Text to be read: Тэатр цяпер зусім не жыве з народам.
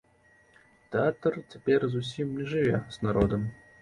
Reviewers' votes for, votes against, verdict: 2, 0, accepted